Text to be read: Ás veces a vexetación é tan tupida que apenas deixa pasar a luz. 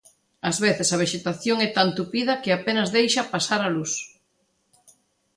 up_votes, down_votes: 2, 0